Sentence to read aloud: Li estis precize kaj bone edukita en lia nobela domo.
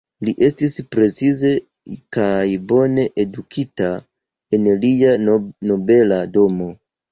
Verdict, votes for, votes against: rejected, 0, 2